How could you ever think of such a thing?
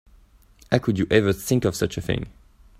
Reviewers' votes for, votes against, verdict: 2, 0, accepted